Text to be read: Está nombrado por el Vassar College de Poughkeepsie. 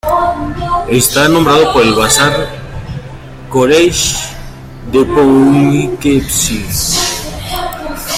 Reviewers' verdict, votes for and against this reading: rejected, 0, 2